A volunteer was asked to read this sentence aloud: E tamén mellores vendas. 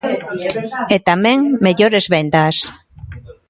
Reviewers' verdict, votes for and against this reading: rejected, 1, 2